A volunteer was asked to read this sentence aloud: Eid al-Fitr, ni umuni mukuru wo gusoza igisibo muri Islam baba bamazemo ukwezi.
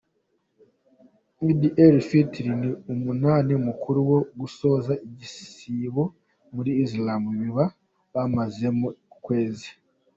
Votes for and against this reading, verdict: 2, 1, accepted